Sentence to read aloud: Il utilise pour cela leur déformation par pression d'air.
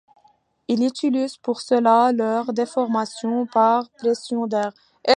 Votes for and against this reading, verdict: 1, 2, rejected